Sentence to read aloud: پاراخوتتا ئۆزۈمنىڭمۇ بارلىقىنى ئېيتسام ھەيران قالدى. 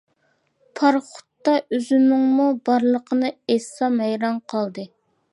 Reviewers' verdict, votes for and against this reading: rejected, 1, 2